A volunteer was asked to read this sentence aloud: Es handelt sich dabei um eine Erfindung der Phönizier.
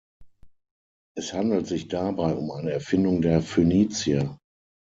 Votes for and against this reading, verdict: 3, 6, rejected